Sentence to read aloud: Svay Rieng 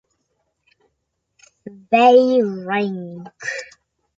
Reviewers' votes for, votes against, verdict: 1, 2, rejected